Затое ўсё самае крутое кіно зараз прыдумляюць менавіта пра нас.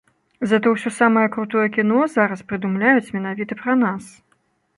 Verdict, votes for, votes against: accepted, 2, 0